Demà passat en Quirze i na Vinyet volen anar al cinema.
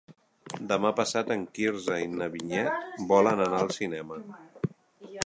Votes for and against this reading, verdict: 1, 2, rejected